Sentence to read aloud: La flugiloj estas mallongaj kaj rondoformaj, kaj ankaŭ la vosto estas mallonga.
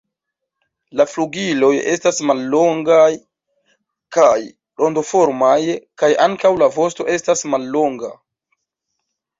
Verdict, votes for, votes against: rejected, 1, 2